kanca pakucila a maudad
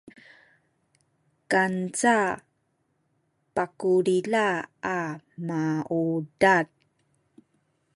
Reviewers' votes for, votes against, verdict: 1, 2, rejected